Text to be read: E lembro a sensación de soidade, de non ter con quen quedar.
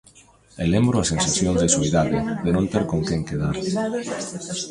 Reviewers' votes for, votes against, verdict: 1, 2, rejected